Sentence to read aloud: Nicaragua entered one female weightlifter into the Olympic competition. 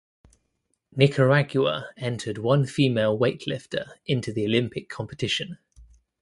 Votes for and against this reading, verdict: 1, 2, rejected